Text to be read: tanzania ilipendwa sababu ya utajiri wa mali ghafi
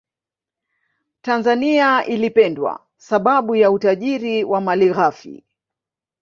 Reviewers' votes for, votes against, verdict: 0, 2, rejected